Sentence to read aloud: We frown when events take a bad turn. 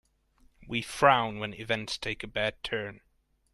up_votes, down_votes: 1, 2